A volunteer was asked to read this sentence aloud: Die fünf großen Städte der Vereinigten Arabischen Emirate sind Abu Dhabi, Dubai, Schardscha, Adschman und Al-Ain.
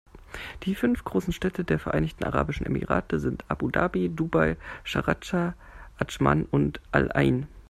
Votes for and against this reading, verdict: 1, 2, rejected